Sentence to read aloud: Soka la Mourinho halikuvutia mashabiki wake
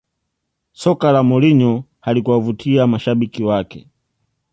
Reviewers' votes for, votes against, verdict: 2, 0, accepted